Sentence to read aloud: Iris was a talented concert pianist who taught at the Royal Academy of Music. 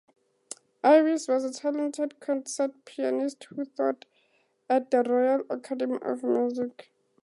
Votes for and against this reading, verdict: 2, 2, rejected